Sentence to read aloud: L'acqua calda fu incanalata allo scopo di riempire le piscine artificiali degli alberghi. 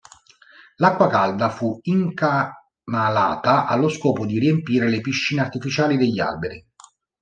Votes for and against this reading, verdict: 0, 2, rejected